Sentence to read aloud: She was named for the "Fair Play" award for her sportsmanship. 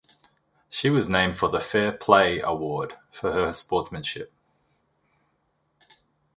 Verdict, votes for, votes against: rejected, 0, 2